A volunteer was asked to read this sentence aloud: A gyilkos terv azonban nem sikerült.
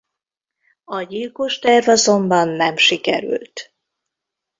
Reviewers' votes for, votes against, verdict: 2, 0, accepted